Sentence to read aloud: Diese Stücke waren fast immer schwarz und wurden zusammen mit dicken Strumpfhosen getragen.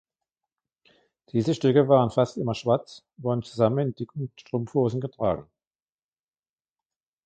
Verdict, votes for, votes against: accepted, 2, 1